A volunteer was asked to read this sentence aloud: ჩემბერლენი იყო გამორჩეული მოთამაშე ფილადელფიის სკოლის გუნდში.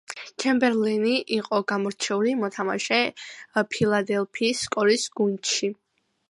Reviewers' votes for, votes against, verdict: 2, 0, accepted